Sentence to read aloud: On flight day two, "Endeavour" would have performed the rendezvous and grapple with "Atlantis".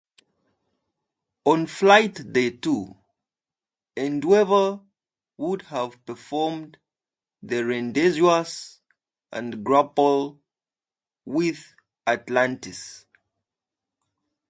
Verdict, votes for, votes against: rejected, 0, 2